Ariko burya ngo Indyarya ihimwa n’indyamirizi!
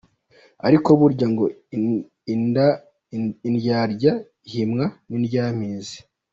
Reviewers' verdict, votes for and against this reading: rejected, 0, 2